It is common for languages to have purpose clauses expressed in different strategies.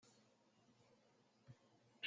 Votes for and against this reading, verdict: 0, 2, rejected